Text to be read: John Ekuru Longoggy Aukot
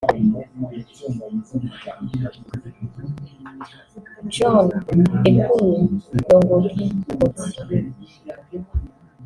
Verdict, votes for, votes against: rejected, 1, 2